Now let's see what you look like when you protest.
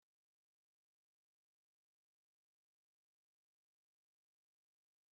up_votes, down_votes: 0, 2